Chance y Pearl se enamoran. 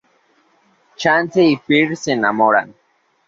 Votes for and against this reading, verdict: 2, 0, accepted